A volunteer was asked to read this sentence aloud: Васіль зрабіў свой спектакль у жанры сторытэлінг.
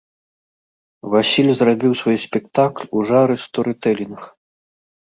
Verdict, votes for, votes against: rejected, 1, 2